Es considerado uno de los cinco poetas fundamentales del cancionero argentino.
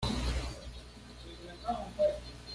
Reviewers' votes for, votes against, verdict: 1, 2, rejected